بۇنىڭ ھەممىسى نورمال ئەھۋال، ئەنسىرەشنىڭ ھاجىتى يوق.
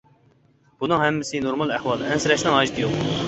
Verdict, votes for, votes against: accepted, 2, 0